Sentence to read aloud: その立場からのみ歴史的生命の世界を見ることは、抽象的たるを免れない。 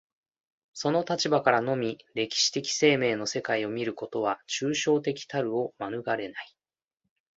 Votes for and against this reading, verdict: 2, 0, accepted